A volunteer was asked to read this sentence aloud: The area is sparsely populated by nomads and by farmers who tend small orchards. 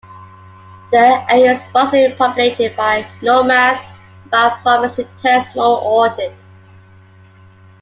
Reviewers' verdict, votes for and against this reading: rejected, 0, 2